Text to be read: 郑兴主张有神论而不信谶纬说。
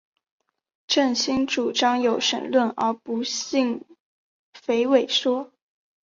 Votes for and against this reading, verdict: 4, 0, accepted